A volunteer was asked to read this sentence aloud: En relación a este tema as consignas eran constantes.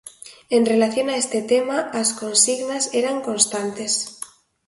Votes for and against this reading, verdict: 2, 0, accepted